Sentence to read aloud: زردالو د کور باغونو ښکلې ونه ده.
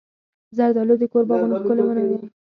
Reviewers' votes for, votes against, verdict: 2, 4, rejected